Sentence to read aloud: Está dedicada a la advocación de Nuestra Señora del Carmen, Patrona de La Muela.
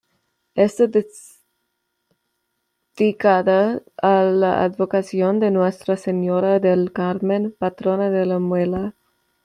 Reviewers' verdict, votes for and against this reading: rejected, 0, 2